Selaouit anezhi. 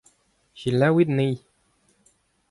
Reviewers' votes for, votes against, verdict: 2, 0, accepted